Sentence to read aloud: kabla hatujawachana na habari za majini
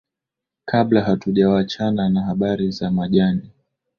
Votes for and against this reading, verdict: 2, 1, accepted